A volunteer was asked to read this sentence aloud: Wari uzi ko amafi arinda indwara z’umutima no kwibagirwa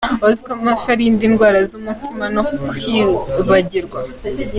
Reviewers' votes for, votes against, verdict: 2, 1, accepted